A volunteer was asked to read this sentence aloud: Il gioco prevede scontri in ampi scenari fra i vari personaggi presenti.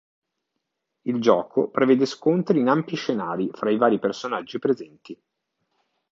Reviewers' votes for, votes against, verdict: 2, 0, accepted